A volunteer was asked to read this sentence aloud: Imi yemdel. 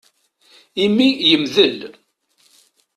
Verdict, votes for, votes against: accepted, 2, 0